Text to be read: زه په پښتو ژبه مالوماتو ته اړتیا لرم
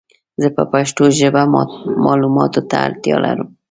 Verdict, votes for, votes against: rejected, 1, 2